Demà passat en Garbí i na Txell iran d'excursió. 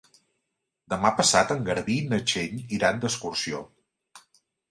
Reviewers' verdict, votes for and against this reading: accepted, 5, 0